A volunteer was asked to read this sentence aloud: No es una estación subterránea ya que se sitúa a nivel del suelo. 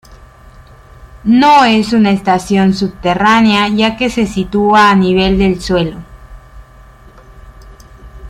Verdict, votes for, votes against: accepted, 2, 1